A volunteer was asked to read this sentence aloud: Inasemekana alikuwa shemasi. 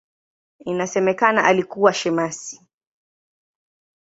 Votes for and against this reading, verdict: 17, 3, accepted